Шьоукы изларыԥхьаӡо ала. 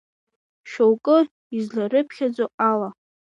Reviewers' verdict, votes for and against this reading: rejected, 0, 2